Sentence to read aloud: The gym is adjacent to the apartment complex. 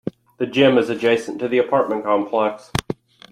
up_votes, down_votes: 2, 1